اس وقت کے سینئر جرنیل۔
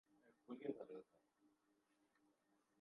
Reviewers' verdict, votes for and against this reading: rejected, 2, 6